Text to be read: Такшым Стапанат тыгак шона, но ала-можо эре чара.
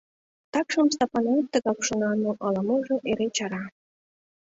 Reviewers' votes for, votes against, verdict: 2, 0, accepted